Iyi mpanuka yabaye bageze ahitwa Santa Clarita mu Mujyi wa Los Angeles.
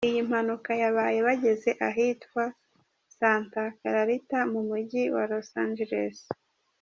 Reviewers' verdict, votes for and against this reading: accepted, 2, 1